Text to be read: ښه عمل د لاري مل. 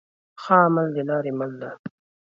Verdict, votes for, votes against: rejected, 1, 2